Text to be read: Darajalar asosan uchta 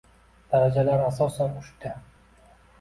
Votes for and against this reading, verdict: 2, 0, accepted